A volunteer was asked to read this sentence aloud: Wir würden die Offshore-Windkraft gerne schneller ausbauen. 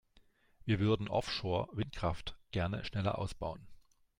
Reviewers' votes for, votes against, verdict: 1, 3, rejected